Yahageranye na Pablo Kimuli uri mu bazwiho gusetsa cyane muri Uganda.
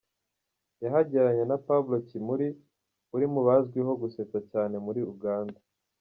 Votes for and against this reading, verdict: 1, 2, rejected